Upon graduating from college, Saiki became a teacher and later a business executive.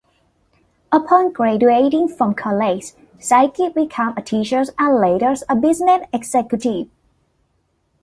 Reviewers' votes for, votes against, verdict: 1, 2, rejected